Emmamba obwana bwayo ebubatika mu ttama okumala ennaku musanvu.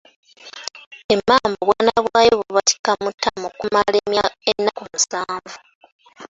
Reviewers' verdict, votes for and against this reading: accepted, 2, 1